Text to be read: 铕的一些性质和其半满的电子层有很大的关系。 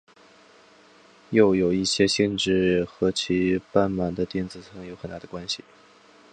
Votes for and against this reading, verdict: 2, 3, rejected